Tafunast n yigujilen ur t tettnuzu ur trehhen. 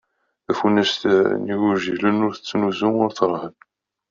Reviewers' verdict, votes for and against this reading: accepted, 2, 0